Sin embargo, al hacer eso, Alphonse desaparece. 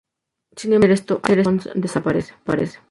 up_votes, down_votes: 0, 2